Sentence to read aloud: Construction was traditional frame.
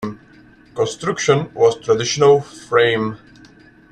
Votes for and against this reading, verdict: 2, 1, accepted